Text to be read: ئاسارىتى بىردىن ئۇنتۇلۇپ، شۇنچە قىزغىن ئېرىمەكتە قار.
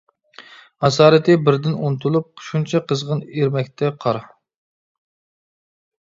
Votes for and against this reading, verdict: 2, 0, accepted